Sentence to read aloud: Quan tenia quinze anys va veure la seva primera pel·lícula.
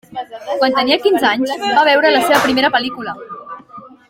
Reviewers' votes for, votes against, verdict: 0, 2, rejected